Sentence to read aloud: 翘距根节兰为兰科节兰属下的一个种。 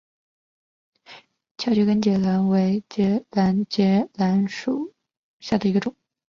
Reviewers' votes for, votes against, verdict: 0, 2, rejected